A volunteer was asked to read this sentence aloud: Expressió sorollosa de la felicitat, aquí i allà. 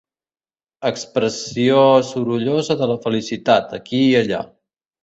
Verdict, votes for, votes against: accepted, 3, 0